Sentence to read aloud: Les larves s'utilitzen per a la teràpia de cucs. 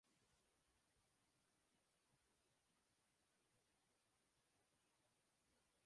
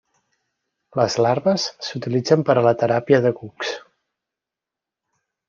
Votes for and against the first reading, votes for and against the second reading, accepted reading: 1, 2, 3, 0, second